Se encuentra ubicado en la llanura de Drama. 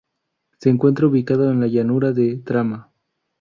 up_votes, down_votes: 0, 2